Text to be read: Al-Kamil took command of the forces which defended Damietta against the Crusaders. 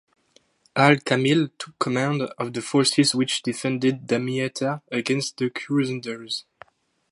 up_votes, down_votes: 0, 2